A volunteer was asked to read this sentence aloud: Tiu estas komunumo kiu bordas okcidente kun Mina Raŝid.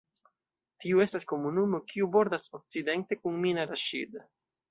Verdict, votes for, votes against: accepted, 2, 0